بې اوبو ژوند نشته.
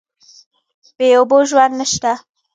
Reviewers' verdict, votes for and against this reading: rejected, 1, 2